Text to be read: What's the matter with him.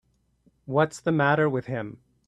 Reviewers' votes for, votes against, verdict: 3, 0, accepted